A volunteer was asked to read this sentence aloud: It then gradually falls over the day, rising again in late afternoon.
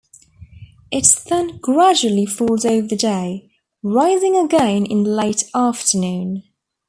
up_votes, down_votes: 3, 1